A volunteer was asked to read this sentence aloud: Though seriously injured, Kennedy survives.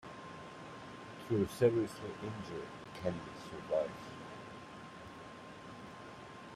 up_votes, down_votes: 2, 0